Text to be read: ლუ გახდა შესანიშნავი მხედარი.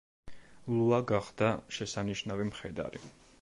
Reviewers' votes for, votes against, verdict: 0, 2, rejected